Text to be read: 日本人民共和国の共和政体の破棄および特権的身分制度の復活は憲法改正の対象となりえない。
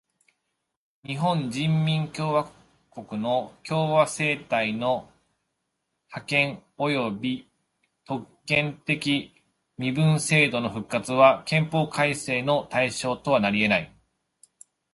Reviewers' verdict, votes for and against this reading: accepted, 2, 0